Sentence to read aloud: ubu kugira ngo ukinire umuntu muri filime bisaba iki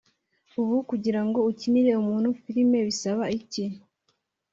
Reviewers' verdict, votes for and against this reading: rejected, 0, 2